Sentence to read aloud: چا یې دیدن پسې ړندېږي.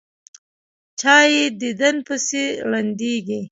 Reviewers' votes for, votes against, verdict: 2, 1, accepted